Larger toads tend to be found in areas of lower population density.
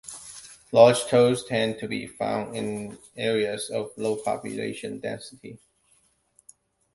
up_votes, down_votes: 1, 2